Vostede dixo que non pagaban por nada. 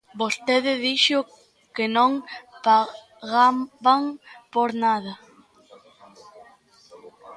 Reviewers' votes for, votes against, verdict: 0, 2, rejected